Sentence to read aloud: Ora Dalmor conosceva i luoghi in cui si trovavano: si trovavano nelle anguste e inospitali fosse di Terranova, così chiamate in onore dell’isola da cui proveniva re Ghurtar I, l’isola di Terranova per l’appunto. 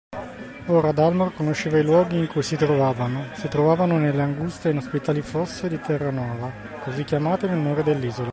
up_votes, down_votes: 2, 1